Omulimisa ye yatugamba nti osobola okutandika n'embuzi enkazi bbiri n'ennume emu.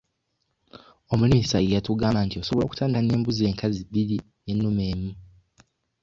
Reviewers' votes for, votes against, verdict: 1, 2, rejected